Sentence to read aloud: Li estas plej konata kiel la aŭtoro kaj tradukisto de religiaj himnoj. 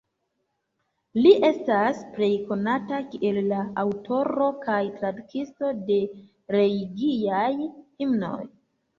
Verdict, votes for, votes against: rejected, 0, 2